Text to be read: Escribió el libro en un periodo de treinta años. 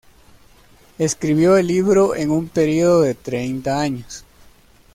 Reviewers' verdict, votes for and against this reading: accepted, 2, 1